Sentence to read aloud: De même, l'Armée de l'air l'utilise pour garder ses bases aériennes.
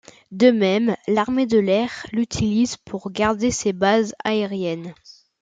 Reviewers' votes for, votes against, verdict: 2, 0, accepted